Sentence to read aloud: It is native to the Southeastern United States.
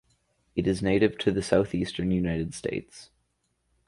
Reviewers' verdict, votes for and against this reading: accepted, 4, 0